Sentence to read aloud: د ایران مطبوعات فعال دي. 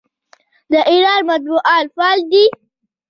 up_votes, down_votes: 2, 0